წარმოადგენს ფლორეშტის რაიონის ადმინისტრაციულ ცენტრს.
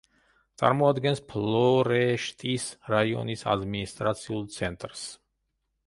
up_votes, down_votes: 0, 2